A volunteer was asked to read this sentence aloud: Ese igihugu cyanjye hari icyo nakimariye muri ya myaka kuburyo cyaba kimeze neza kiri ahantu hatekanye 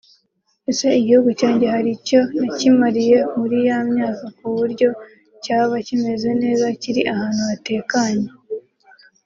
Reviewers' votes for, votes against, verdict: 2, 0, accepted